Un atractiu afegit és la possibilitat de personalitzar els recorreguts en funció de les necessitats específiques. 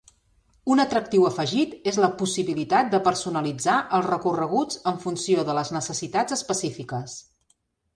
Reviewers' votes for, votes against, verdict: 3, 0, accepted